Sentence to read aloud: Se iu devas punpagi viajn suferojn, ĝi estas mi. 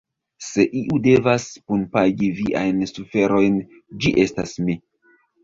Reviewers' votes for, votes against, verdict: 0, 2, rejected